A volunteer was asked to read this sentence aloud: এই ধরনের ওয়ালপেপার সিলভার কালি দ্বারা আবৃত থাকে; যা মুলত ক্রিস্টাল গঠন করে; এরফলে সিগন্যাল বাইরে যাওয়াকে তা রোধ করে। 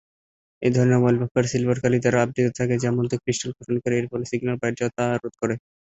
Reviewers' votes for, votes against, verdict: 0, 3, rejected